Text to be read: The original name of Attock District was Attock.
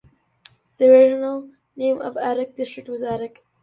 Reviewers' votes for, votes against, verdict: 2, 0, accepted